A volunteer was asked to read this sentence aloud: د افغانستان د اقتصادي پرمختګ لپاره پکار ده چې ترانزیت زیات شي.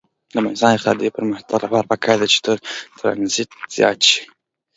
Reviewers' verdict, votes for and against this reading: accepted, 2, 0